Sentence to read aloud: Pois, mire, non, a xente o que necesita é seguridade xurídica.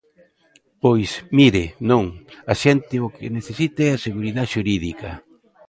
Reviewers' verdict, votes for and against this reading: rejected, 0, 2